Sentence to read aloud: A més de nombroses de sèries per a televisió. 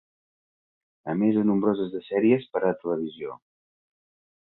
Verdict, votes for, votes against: accepted, 3, 0